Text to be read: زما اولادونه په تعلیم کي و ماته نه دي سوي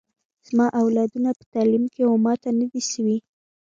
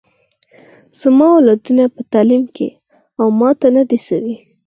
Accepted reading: second